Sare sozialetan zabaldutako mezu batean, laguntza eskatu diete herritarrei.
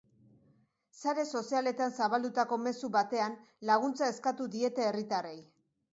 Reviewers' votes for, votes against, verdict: 2, 0, accepted